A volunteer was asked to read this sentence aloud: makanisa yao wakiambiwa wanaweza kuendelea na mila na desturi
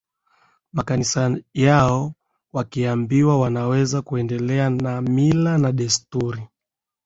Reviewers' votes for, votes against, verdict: 2, 0, accepted